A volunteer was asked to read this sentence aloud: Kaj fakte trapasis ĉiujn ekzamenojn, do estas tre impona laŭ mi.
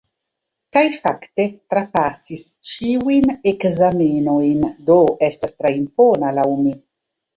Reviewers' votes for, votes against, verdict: 1, 2, rejected